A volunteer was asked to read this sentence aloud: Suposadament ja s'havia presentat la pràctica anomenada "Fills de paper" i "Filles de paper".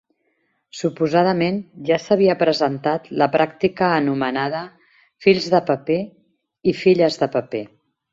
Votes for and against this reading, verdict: 2, 0, accepted